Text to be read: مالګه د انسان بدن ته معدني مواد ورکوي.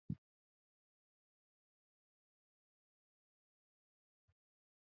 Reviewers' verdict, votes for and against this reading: rejected, 1, 2